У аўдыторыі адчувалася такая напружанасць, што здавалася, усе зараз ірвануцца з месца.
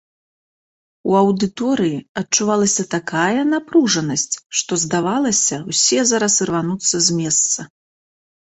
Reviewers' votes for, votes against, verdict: 2, 0, accepted